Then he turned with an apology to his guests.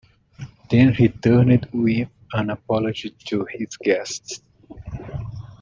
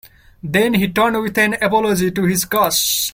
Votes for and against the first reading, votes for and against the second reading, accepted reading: 2, 0, 0, 2, first